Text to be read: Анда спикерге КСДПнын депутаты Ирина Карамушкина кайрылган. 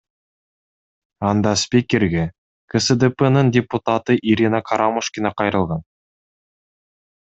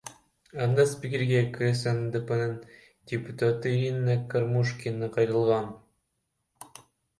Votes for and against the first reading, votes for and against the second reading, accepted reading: 2, 0, 0, 2, first